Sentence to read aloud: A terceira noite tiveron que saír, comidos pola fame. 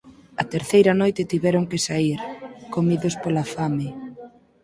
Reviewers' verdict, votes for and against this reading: accepted, 4, 0